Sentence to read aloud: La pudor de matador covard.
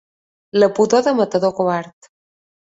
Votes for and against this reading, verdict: 2, 0, accepted